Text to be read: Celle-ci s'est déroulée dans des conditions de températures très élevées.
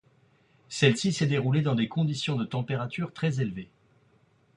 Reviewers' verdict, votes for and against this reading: accepted, 2, 0